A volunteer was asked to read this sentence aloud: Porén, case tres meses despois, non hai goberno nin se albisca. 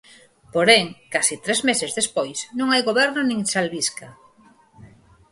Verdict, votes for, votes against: accepted, 4, 0